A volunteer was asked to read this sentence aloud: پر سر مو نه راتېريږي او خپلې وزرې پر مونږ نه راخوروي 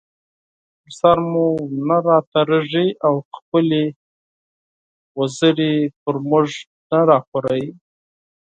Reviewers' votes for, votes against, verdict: 4, 2, accepted